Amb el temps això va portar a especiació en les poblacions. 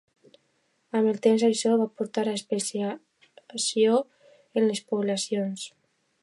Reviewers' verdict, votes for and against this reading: accepted, 2, 1